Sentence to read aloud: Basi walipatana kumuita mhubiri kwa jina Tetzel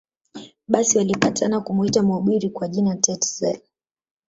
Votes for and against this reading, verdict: 5, 0, accepted